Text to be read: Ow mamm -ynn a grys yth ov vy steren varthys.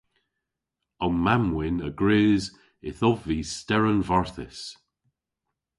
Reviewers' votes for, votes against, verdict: 0, 2, rejected